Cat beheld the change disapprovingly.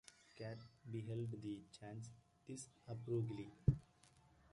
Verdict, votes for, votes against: rejected, 0, 2